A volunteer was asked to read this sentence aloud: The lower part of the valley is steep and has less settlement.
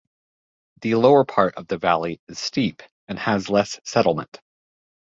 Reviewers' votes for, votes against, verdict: 2, 0, accepted